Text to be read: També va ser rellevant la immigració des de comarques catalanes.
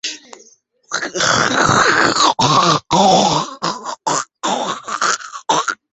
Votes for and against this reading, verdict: 1, 2, rejected